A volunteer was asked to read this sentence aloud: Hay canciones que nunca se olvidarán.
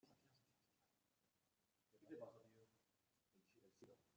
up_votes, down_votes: 0, 2